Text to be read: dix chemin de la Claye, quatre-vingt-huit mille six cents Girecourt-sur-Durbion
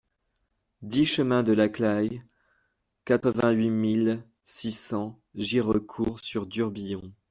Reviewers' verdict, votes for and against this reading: rejected, 1, 2